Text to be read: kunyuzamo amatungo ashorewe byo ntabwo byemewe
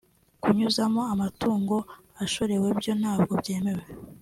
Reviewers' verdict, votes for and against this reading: accepted, 2, 0